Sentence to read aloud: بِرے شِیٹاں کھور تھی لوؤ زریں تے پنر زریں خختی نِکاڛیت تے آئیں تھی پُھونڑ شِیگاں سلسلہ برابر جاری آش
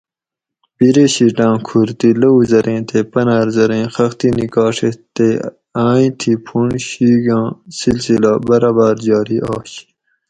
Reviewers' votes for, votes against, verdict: 2, 2, rejected